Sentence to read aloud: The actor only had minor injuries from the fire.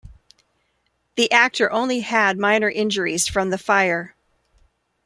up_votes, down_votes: 2, 0